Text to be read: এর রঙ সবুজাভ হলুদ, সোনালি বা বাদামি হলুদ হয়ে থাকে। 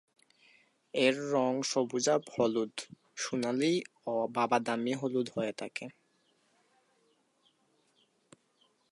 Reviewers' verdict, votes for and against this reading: rejected, 1, 2